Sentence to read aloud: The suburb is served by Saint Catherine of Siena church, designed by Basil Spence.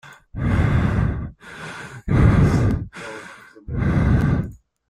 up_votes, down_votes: 0, 2